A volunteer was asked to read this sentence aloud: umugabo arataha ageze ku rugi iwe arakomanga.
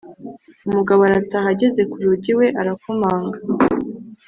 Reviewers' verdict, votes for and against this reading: accepted, 5, 0